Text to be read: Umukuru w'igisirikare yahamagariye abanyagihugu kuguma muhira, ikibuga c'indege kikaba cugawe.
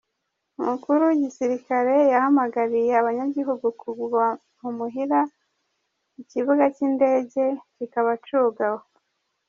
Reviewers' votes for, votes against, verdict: 1, 2, rejected